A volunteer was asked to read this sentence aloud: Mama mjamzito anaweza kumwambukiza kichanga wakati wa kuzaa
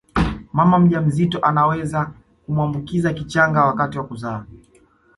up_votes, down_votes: 2, 1